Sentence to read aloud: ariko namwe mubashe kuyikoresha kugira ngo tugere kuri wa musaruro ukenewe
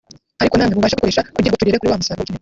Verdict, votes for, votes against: rejected, 0, 2